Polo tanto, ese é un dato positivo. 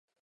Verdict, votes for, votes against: rejected, 0, 4